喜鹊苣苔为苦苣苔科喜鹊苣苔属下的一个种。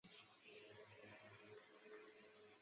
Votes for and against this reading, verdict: 0, 2, rejected